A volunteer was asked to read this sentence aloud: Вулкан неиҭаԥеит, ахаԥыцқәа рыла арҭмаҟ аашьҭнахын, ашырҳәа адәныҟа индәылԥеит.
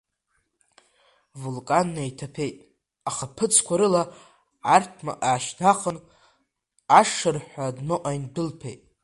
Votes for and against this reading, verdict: 2, 0, accepted